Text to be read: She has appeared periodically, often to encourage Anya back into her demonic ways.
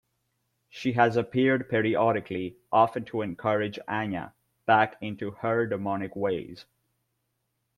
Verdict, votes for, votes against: accepted, 2, 0